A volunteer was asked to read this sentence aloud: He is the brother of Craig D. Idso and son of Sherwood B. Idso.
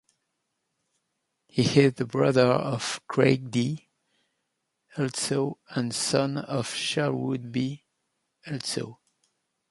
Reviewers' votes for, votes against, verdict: 2, 1, accepted